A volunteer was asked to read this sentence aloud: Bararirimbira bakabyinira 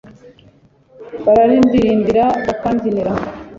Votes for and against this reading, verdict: 3, 0, accepted